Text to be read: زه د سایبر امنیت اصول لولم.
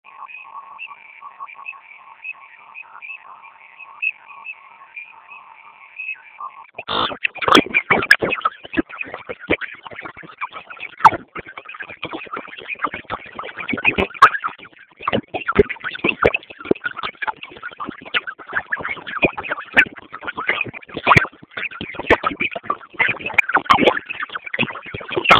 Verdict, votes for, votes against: rejected, 0, 2